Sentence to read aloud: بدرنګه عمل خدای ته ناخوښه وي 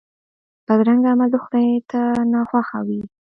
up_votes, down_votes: 1, 2